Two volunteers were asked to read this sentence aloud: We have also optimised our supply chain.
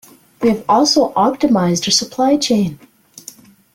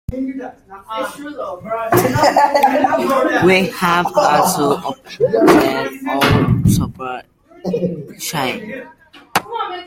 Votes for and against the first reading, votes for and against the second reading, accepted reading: 2, 0, 1, 2, first